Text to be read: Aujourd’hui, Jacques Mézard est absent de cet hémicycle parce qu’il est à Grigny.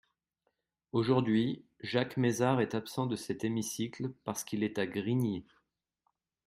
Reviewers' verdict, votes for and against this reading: accepted, 3, 1